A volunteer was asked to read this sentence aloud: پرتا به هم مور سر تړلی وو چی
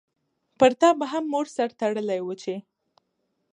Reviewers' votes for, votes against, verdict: 2, 0, accepted